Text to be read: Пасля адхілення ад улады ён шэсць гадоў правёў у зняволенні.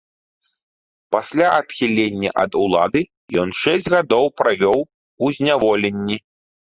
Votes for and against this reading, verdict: 2, 0, accepted